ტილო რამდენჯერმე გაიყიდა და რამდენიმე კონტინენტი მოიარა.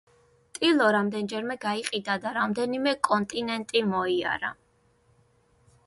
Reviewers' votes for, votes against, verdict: 2, 0, accepted